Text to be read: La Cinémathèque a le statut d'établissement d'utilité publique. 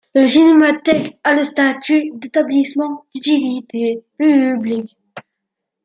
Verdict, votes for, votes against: rejected, 1, 2